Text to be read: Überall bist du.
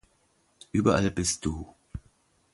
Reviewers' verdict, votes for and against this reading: accepted, 2, 0